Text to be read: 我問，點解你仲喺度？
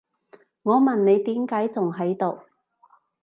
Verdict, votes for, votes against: rejected, 1, 2